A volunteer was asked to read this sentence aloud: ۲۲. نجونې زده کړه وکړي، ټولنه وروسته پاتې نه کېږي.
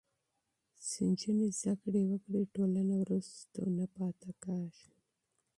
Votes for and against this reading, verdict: 0, 2, rejected